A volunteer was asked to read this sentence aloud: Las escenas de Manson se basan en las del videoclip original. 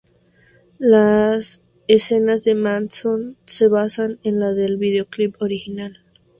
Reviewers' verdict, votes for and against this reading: accepted, 2, 0